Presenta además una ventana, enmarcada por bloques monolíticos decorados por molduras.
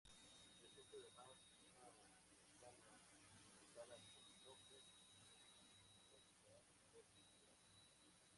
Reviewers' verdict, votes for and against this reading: rejected, 0, 2